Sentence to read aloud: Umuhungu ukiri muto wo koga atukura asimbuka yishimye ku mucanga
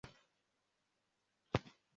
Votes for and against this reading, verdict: 0, 2, rejected